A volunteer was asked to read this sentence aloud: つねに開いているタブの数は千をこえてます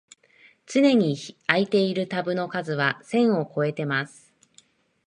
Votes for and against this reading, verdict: 0, 3, rejected